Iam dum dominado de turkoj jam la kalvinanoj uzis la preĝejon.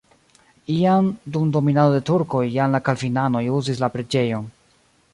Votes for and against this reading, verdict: 1, 2, rejected